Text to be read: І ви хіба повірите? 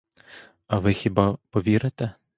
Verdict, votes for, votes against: rejected, 0, 2